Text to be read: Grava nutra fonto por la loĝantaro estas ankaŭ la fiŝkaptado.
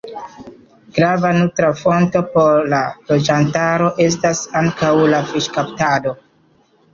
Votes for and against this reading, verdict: 2, 1, accepted